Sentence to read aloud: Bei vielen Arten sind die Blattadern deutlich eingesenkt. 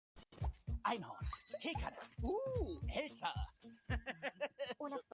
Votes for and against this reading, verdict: 0, 2, rejected